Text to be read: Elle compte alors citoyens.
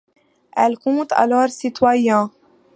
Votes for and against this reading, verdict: 2, 0, accepted